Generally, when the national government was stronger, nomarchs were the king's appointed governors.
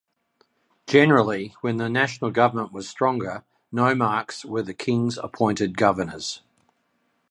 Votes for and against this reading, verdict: 2, 1, accepted